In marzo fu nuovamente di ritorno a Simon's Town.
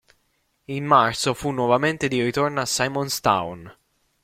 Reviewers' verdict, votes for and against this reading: accepted, 2, 0